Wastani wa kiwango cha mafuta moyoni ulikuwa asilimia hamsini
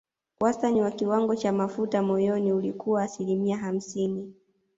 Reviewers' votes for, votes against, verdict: 2, 0, accepted